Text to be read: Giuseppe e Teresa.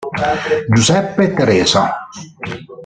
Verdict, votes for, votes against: rejected, 1, 2